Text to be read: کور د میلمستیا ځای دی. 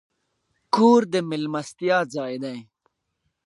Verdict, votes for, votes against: accepted, 2, 0